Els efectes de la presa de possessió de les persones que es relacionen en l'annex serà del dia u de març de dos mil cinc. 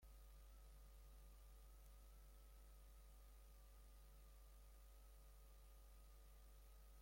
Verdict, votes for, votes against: rejected, 0, 2